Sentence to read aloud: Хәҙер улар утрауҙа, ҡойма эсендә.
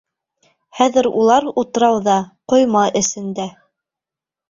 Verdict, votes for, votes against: rejected, 0, 2